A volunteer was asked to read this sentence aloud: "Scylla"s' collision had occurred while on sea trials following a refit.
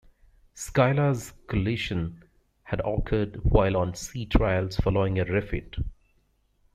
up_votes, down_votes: 0, 2